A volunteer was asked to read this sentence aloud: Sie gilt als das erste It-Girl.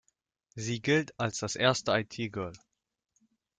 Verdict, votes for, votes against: rejected, 0, 2